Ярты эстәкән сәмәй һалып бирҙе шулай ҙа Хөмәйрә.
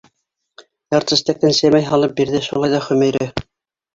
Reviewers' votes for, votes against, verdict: 2, 1, accepted